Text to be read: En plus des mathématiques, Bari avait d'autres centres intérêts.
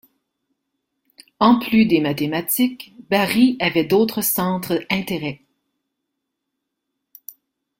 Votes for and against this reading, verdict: 2, 0, accepted